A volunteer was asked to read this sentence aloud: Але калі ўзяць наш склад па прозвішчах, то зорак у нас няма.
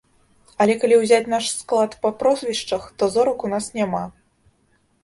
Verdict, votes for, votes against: accepted, 2, 0